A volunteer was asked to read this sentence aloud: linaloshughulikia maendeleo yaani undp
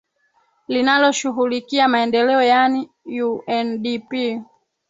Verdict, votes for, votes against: accepted, 2, 0